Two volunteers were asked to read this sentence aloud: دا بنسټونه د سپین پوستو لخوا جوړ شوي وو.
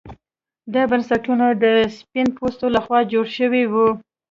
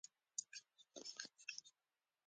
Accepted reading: first